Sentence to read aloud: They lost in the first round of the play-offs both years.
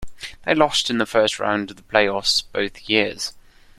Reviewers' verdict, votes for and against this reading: accepted, 2, 0